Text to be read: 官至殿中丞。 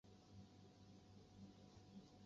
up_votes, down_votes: 0, 2